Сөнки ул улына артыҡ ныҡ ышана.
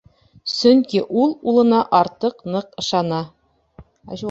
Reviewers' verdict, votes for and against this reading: rejected, 0, 2